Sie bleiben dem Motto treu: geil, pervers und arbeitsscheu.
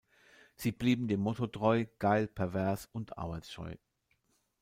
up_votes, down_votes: 0, 3